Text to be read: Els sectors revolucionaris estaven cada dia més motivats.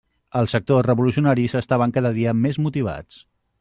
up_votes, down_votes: 2, 1